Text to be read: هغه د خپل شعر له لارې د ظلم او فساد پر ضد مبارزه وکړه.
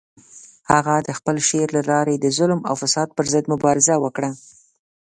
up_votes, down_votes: 3, 0